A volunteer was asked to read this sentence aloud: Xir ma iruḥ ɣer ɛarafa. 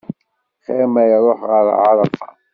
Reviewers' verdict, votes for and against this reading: accepted, 2, 0